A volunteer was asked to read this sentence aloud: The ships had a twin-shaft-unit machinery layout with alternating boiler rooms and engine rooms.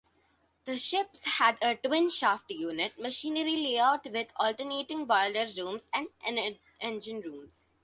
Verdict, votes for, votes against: rejected, 0, 2